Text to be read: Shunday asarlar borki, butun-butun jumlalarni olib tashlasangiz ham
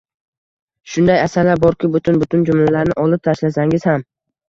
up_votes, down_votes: 2, 0